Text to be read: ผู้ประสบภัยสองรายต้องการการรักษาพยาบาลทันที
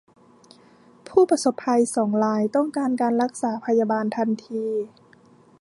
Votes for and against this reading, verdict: 2, 0, accepted